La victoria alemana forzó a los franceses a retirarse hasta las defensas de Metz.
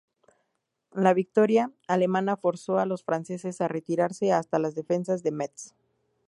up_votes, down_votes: 0, 2